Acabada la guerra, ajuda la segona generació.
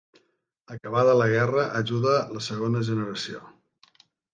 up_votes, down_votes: 3, 0